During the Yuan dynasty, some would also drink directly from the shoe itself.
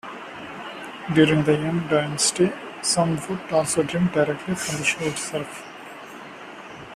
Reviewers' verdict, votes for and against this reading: accepted, 2, 1